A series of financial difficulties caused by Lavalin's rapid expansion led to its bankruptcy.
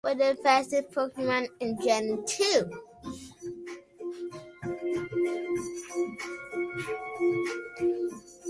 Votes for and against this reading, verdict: 0, 2, rejected